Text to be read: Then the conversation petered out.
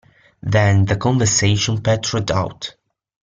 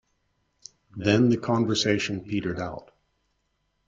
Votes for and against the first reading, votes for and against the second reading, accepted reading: 1, 2, 2, 0, second